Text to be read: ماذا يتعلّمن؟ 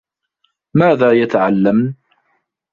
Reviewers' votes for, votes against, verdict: 1, 2, rejected